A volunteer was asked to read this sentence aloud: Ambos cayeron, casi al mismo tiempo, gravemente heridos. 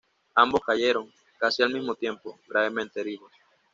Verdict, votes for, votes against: accepted, 2, 0